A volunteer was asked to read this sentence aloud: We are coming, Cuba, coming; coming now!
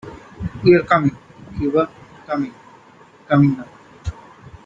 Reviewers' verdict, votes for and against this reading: accepted, 2, 1